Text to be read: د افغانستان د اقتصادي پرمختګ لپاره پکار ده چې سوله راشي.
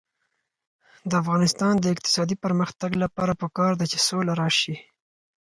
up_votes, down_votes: 4, 0